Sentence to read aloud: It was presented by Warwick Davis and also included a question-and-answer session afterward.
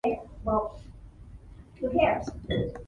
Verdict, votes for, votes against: rejected, 0, 2